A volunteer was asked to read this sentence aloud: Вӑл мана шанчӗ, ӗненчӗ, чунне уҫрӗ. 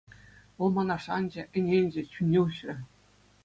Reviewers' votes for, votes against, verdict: 2, 0, accepted